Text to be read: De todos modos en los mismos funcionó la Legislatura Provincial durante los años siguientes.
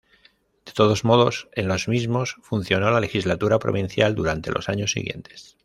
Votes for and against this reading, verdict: 2, 0, accepted